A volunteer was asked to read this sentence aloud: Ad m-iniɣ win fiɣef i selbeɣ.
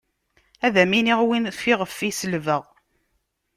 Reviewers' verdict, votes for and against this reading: accepted, 2, 0